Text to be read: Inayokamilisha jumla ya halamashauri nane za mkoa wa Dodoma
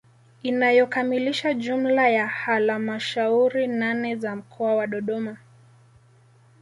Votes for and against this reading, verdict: 2, 0, accepted